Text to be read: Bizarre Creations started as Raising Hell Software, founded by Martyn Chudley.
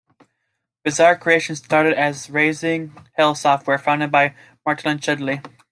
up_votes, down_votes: 2, 1